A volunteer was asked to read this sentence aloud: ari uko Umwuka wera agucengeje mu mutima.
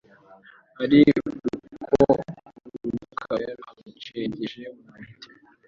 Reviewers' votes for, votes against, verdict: 0, 2, rejected